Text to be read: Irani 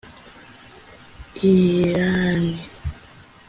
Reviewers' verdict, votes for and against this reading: accepted, 2, 1